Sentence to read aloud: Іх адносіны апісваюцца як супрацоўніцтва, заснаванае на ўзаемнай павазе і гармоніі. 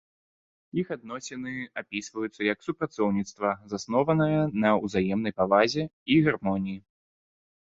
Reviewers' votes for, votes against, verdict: 0, 3, rejected